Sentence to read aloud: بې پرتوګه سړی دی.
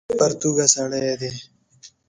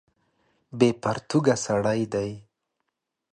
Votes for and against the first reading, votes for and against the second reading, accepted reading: 0, 2, 2, 0, second